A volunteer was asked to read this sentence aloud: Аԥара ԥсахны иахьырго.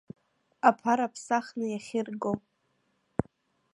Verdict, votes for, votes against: accepted, 2, 0